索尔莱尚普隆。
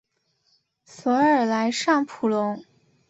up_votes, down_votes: 7, 0